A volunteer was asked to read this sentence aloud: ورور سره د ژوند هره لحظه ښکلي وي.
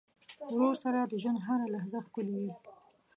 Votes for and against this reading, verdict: 1, 2, rejected